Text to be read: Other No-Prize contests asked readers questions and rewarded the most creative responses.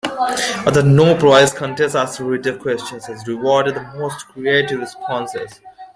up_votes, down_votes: 2, 0